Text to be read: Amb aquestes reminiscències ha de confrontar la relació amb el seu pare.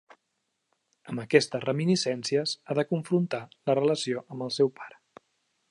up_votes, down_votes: 3, 0